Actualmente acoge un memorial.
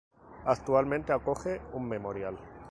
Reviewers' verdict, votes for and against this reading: rejected, 0, 2